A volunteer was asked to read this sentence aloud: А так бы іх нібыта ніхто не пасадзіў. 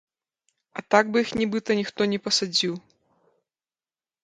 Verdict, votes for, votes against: accepted, 2, 0